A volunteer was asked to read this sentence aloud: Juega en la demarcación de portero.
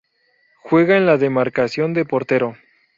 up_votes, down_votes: 2, 0